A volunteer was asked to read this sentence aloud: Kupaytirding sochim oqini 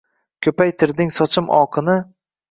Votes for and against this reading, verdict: 2, 0, accepted